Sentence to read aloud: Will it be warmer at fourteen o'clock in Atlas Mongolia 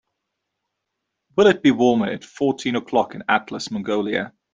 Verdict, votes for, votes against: accepted, 2, 0